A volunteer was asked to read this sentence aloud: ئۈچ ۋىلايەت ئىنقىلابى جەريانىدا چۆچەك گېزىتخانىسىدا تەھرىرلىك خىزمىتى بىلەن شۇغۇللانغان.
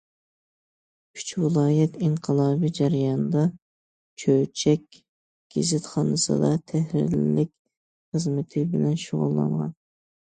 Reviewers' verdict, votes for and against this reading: accepted, 2, 0